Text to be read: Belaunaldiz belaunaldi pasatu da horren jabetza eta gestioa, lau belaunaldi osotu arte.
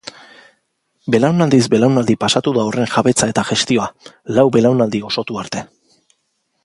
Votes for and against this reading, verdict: 2, 0, accepted